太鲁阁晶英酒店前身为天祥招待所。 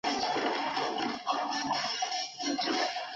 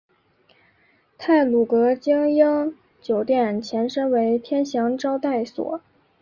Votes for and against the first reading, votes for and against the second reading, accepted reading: 0, 2, 2, 1, second